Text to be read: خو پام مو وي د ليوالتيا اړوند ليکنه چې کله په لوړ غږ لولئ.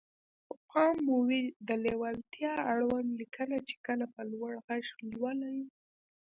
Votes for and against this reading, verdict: 2, 0, accepted